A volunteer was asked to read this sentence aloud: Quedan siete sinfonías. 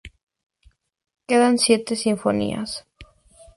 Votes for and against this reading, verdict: 2, 0, accepted